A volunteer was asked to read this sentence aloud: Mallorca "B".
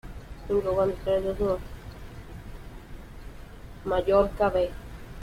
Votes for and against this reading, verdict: 0, 2, rejected